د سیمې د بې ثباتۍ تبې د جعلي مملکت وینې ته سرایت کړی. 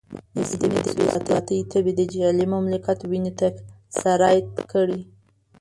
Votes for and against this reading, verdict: 1, 2, rejected